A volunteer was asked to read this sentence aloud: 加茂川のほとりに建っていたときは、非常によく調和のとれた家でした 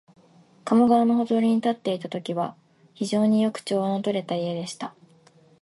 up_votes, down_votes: 2, 0